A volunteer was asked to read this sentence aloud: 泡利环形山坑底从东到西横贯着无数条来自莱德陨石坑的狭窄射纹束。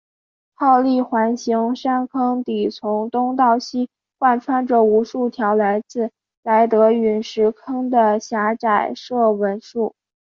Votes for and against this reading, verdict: 4, 0, accepted